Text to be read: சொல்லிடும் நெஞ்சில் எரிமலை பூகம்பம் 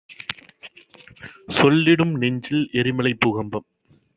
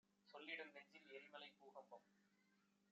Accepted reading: first